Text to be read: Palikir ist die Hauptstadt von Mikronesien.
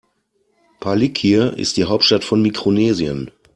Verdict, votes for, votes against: accepted, 2, 0